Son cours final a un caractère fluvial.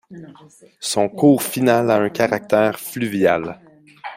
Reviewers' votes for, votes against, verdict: 2, 0, accepted